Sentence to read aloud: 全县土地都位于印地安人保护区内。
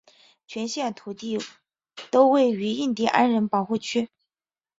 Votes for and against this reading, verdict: 2, 1, accepted